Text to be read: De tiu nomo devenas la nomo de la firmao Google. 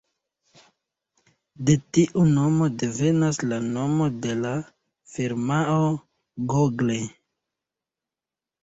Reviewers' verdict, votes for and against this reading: rejected, 1, 2